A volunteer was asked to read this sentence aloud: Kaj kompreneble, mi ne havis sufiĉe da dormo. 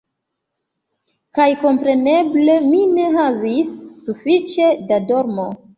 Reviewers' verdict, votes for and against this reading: accepted, 2, 0